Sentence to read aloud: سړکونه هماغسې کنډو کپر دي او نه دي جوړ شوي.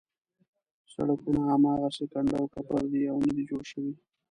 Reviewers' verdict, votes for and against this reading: rejected, 1, 2